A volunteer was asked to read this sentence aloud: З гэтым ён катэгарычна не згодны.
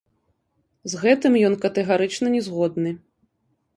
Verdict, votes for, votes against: rejected, 1, 2